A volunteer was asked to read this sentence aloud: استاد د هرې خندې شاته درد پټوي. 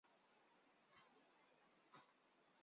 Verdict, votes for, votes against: rejected, 0, 2